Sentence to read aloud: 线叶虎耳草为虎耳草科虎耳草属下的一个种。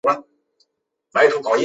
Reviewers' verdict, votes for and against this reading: rejected, 0, 2